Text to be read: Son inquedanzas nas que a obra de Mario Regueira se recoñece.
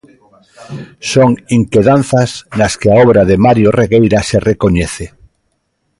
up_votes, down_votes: 2, 1